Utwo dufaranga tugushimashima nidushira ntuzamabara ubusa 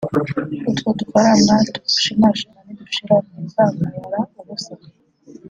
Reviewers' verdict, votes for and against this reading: rejected, 1, 2